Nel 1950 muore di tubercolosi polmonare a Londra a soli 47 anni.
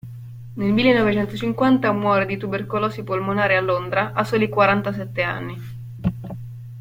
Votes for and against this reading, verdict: 0, 2, rejected